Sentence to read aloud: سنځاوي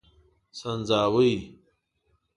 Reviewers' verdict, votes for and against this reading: rejected, 1, 2